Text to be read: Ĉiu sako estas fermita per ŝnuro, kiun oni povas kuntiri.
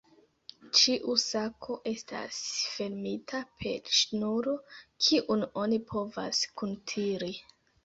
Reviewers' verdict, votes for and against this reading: accepted, 2, 0